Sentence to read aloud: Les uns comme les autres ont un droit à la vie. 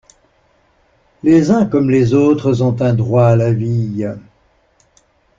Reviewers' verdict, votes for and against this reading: accepted, 2, 0